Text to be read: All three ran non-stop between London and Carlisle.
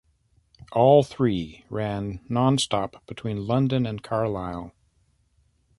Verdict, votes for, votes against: accepted, 2, 0